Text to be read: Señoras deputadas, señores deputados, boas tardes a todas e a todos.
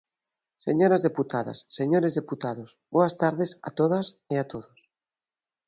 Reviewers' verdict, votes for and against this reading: accepted, 3, 0